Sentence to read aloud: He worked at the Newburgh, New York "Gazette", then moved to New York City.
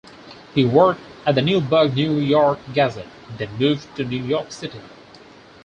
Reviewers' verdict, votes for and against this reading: rejected, 2, 4